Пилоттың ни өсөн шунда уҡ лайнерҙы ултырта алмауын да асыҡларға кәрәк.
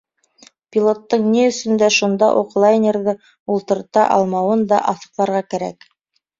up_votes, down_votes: 1, 2